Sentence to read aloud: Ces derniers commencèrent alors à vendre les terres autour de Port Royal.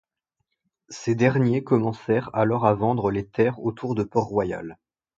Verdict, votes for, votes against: accepted, 2, 0